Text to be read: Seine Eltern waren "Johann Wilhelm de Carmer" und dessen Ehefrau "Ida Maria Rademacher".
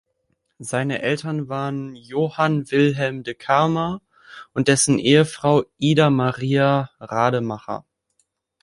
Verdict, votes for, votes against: accepted, 2, 0